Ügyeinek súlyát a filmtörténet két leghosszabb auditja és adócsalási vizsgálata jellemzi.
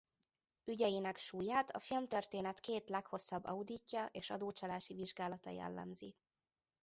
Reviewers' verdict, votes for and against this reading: accepted, 2, 0